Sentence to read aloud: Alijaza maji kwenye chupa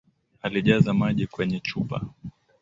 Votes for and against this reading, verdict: 3, 0, accepted